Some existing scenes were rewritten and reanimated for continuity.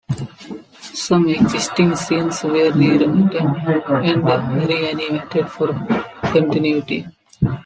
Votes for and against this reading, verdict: 2, 0, accepted